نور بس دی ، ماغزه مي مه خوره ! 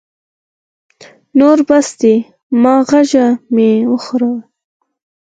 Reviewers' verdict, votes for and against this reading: accepted, 4, 2